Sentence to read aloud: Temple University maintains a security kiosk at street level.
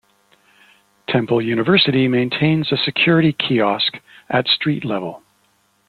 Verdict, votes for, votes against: accepted, 2, 0